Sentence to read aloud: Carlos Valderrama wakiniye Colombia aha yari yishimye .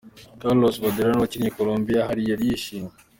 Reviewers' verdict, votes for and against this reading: accepted, 3, 0